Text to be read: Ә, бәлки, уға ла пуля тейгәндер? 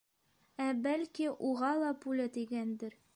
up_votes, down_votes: 2, 0